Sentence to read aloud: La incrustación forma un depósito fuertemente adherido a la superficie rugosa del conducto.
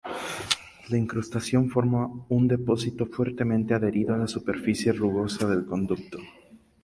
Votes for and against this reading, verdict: 0, 2, rejected